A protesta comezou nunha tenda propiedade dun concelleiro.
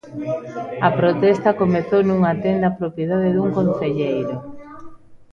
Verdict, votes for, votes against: accepted, 2, 0